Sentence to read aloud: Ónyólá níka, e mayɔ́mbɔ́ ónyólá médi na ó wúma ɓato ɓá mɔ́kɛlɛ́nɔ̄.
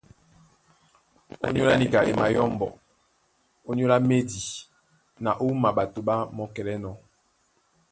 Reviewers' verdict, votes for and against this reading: rejected, 0, 2